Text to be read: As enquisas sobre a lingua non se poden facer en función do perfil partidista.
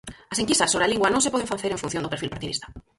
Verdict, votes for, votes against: rejected, 0, 4